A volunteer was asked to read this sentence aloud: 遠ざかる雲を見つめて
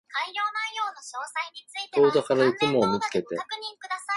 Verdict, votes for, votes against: rejected, 0, 2